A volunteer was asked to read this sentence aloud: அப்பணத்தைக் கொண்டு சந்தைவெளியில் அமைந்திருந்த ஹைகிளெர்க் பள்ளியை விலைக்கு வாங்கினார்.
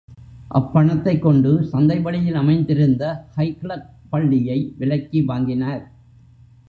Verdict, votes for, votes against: accepted, 3, 0